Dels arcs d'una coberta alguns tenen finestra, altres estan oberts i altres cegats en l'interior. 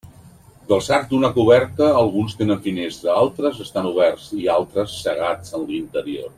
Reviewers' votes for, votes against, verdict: 2, 0, accepted